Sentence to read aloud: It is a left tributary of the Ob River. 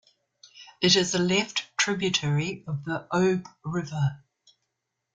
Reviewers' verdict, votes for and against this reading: accepted, 2, 1